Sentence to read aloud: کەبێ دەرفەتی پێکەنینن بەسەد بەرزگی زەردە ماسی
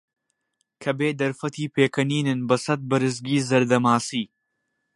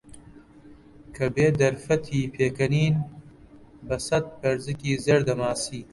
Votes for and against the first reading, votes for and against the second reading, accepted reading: 2, 0, 1, 2, first